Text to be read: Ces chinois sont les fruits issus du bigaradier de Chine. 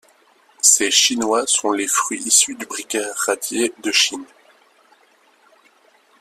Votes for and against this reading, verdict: 1, 2, rejected